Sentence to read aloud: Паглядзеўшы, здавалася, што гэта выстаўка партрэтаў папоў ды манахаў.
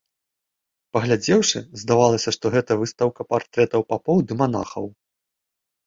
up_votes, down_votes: 2, 0